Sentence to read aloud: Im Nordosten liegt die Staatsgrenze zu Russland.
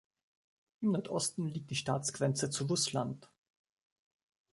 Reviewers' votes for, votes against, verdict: 1, 2, rejected